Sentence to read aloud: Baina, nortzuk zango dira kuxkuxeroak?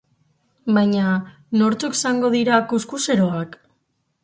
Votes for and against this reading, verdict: 6, 0, accepted